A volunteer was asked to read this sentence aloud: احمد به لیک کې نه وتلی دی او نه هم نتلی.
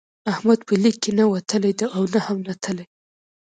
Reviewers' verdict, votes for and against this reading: accepted, 2, 1